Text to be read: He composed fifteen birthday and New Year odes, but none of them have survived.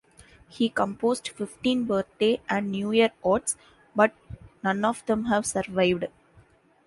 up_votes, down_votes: 2, 0